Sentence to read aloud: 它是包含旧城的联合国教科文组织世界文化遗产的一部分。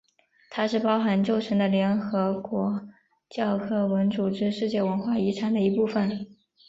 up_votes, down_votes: 3, 1